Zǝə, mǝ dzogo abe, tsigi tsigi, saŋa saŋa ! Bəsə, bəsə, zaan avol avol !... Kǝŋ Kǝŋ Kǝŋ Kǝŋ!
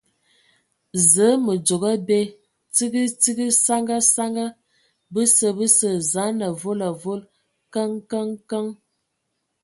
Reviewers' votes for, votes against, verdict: 2, 0, accepted